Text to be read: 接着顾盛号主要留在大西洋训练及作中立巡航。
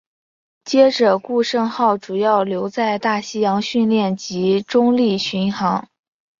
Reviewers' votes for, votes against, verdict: 0, 2, rejected